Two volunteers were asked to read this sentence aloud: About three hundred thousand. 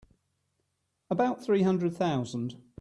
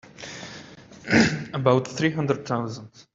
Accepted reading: first